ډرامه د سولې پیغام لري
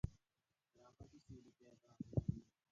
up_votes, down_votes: 0, 2